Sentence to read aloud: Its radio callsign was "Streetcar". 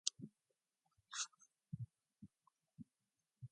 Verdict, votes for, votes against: rejected, 0, 2